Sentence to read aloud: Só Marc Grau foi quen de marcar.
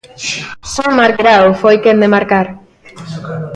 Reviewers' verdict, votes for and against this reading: accepted, 2, 0